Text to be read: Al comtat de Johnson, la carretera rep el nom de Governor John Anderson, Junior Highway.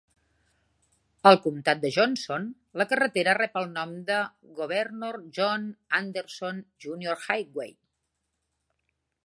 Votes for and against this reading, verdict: 3, 0, accepted